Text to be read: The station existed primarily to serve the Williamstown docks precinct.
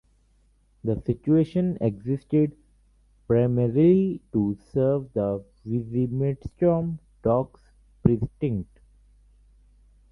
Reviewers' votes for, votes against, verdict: 0, 2, rejected